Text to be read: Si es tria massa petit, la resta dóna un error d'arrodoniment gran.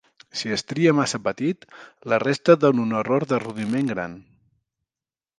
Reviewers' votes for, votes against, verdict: 0, 2, rejected